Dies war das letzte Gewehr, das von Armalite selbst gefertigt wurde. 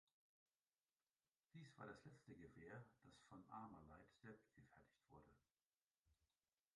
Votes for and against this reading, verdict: 0, 2, rejected